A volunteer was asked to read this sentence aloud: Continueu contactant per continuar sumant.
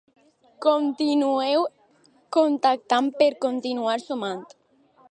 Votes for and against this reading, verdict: 2, 0, accepted